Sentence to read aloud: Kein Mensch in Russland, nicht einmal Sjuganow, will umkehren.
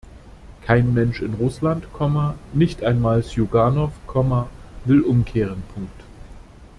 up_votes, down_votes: 0, 2